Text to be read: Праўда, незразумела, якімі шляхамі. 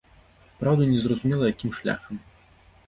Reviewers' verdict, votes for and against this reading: rejected, 0, 2